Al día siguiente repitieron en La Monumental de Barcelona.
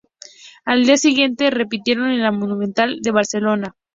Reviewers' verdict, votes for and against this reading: accepted, 2, 0